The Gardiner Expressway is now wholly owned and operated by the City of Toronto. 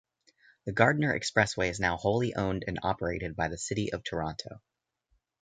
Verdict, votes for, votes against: accepted, 2, 0